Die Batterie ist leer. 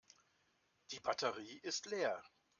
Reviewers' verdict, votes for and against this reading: accepted, 2, 0